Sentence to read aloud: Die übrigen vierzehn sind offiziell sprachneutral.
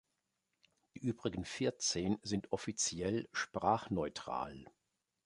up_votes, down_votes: 3, 1